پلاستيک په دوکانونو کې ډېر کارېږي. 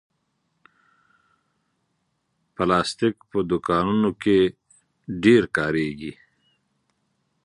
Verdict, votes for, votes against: accepted, 2, 0